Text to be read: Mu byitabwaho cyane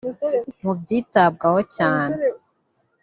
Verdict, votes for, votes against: rejected, 1, 2